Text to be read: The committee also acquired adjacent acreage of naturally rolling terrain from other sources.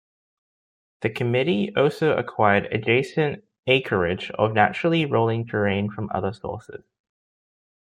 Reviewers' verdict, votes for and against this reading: accepted, 2, 0